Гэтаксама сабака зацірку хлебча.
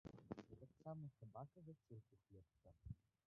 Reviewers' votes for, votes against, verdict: 0, 2, rejected